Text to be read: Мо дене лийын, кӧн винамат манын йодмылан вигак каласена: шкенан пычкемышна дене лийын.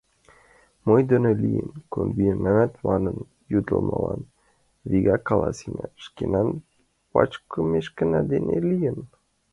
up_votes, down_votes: 0, 2